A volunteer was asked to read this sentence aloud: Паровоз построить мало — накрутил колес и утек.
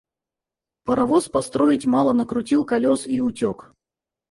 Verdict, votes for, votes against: rejected, 2, 4